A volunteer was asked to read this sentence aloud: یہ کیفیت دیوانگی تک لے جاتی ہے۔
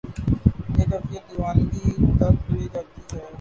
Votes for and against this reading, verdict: 5, 3, accepted